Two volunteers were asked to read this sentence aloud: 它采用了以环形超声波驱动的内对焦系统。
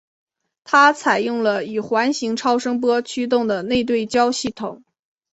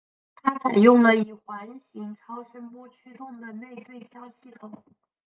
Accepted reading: first